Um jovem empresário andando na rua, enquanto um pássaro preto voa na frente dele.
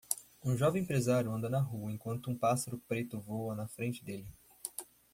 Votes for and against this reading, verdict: 0, 2, rejected